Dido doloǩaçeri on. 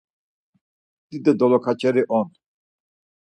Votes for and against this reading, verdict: 4, 0, accepted